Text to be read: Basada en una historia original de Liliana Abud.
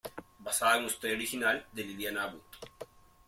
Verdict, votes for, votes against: accepted, 2, 0